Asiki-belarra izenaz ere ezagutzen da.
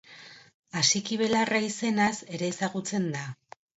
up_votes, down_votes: 2, 0